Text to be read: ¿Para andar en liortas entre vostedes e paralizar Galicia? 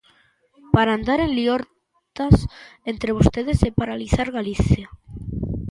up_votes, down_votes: 0, 2